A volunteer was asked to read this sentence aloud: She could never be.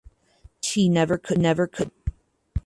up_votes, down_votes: 0, 4